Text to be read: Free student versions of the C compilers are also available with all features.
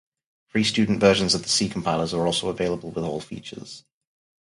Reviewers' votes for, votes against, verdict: 2, 2, rejected